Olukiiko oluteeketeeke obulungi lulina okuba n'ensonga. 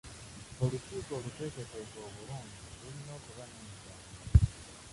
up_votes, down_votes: 0, 2